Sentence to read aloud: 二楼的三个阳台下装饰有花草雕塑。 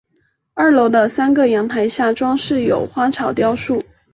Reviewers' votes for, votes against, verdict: 3, 0, accepted